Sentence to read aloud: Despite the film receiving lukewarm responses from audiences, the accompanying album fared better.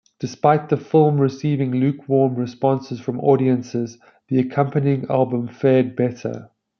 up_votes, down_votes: 2, 0